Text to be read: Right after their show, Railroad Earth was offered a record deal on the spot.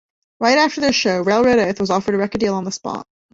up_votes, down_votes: 2, 0